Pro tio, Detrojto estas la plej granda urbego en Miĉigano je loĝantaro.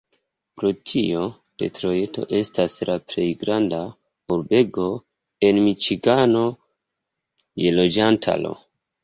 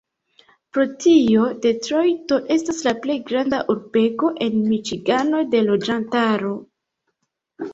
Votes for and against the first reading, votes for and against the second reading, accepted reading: 2, 1, 1, 2, first